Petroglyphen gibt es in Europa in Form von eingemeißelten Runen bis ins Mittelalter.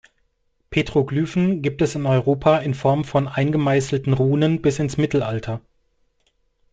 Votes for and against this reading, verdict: 2, 0, accepted